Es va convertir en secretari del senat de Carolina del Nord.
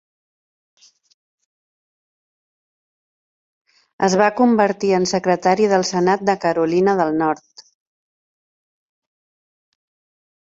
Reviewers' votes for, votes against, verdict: 5, 0, accepted